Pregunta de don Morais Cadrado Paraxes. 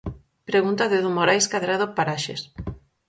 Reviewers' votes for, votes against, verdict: 4, 0, accepted